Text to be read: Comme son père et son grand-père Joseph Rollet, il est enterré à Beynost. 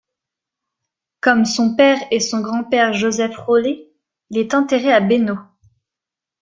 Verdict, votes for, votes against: accepted, 2, 1